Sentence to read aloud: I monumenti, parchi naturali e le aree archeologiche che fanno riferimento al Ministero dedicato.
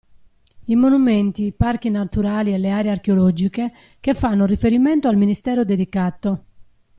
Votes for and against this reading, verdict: 2, 0, accepted